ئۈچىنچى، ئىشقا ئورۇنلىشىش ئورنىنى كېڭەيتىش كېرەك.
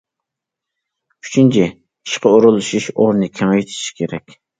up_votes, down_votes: 1, 2